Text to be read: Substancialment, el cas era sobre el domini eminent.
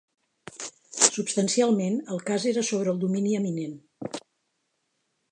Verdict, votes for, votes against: accepted, 4, 0